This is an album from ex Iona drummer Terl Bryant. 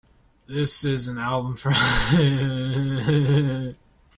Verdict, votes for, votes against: rejected, 0, 4